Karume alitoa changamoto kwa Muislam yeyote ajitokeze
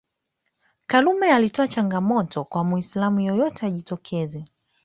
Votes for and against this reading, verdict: 1, 2, rejected